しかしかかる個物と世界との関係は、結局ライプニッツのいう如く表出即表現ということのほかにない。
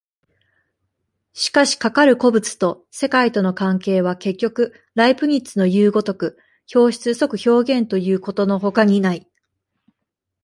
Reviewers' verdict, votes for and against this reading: accepted, 2, 0